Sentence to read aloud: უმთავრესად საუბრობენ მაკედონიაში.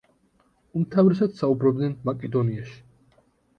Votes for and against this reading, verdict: 1, 2, rejected